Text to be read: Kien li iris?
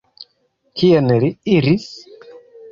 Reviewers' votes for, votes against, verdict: 1, 2, rejected